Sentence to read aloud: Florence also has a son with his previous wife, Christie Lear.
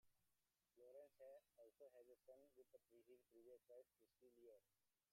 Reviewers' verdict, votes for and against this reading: rejected, 0, 2